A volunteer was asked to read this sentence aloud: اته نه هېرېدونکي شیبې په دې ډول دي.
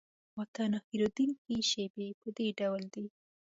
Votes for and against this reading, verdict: 2, 0, accepted